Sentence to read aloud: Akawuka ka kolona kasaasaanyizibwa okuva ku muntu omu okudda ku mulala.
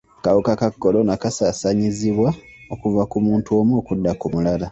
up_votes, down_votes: 1, 2